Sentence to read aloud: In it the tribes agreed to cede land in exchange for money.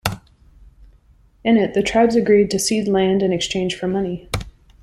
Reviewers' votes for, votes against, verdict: 2, 0, accepted